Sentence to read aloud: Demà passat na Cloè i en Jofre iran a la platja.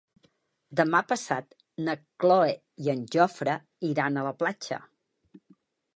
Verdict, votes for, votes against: rejected, 0, 2